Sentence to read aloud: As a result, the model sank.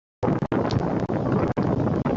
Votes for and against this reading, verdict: 0, 2, rejected